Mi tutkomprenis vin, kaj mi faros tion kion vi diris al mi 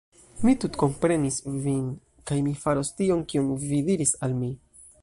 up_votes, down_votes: 2, 0